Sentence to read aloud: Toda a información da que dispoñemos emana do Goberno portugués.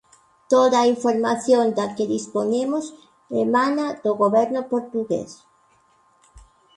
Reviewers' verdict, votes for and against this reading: accepted, 2, 0